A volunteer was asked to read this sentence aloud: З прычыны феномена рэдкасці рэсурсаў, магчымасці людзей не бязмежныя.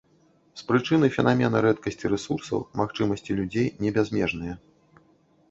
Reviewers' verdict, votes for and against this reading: rejected, 0, 2